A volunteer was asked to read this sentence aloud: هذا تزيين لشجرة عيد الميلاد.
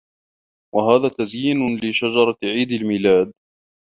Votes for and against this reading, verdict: 2, 0, accepted